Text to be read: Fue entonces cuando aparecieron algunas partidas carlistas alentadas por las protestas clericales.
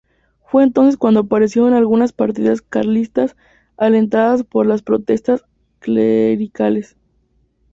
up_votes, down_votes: 0, 2